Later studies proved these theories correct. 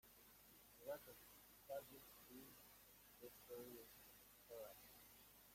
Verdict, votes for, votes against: rejected, 0, 2